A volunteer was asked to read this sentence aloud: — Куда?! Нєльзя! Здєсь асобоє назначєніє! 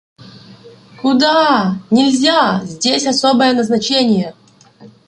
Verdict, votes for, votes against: rejected, 0, 2